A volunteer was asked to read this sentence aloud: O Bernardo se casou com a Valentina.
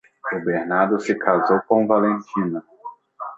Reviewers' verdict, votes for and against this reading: rejected, 0, 2